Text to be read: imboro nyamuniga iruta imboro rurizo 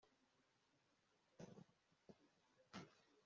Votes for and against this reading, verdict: 0, 2, rejected